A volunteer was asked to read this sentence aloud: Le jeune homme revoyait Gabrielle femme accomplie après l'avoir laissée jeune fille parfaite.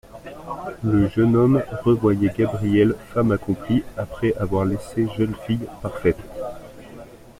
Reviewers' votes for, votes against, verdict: 1, 2, rejected